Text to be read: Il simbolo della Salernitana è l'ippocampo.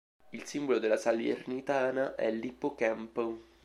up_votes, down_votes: 1, 2